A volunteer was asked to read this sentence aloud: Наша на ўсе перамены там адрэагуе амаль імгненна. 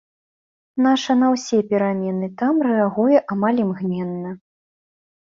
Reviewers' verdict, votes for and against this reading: rejected, 1, 2